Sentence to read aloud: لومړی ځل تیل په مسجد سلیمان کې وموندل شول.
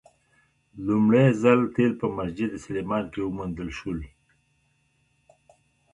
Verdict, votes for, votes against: rejected, 0, 2